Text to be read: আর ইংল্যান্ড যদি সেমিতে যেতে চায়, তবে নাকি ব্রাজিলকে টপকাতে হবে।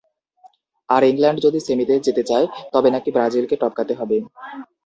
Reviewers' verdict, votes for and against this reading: accepted, 2, 0